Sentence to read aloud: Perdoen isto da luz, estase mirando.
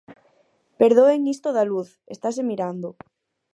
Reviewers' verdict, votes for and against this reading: accepted, 4, 0